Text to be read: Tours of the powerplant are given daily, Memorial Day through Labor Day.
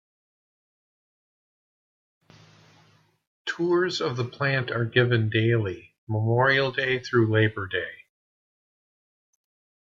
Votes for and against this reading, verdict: 2, 1, accepted